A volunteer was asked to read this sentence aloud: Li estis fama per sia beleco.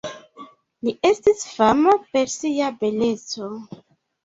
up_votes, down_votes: 2, 0